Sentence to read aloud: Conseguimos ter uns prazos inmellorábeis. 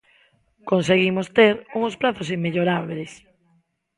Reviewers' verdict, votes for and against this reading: accepted, 2, 1